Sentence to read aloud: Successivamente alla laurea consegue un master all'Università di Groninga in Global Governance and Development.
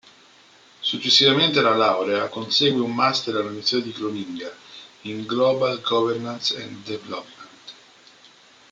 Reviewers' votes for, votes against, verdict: 2, 1, accepted